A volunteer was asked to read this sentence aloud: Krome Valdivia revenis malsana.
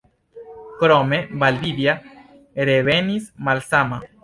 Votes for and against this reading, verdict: 1, 2, rejected